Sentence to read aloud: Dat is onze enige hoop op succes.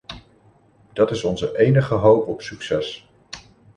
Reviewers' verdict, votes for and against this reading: accepted, 2, 0